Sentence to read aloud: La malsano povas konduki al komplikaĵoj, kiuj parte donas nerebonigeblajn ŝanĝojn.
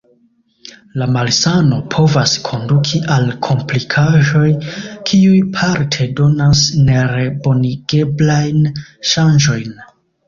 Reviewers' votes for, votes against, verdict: 0, 2, rejected